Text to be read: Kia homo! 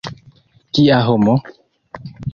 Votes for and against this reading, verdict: 0, 2, rejected